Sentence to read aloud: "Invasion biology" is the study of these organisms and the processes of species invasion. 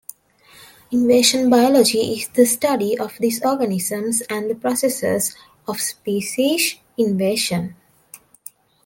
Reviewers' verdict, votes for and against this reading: accepted, 2, 0